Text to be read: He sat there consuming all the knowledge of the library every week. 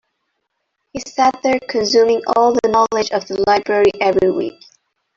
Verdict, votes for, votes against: rejected, 1, 2